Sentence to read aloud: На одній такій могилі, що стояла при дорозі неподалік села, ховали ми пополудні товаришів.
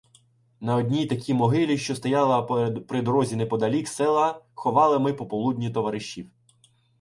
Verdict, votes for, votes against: rejected, 0, 2